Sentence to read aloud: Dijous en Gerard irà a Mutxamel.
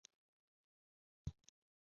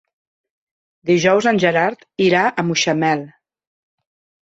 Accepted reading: second